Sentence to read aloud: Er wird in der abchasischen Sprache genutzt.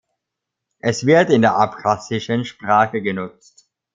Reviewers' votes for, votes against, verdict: 1, 2, rejected